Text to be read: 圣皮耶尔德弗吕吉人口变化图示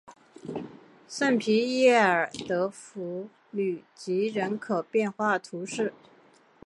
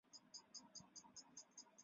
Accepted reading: first